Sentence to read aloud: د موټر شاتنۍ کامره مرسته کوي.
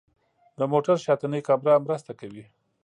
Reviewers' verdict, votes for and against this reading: accepted, 2, 0